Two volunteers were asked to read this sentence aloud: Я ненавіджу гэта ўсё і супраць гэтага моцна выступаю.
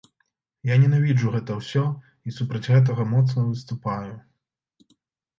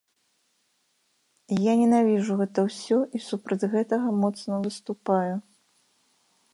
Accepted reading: first